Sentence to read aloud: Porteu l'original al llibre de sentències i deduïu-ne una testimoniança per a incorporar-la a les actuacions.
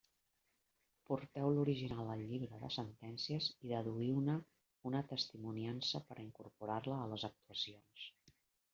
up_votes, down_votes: 1, 2